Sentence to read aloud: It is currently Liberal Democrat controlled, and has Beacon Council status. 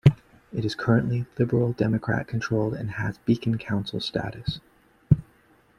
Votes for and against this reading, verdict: 3, 2, accepted